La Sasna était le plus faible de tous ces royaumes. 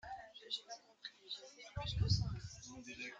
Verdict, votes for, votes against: rejected, 0, 2